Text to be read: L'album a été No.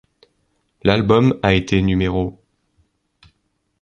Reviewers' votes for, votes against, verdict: 2, 0, accepted